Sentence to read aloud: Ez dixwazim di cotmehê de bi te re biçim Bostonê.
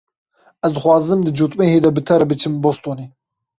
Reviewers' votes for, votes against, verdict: 3, 0, accepted